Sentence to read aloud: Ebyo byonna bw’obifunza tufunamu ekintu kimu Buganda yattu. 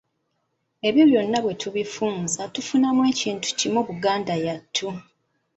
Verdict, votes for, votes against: rejected, 1, 2